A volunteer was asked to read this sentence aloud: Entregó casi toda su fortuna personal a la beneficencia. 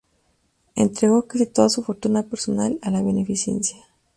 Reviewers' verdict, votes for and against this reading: accepted, 2, 0